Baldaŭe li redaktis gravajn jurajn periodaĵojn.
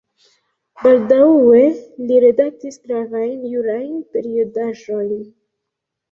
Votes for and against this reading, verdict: 0, 2, rejected